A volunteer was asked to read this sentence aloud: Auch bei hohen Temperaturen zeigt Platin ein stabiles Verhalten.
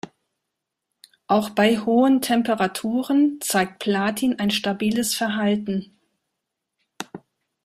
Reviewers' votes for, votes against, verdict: 2, 0, accepted